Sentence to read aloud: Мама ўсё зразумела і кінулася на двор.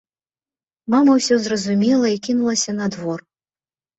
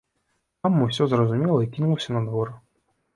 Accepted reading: first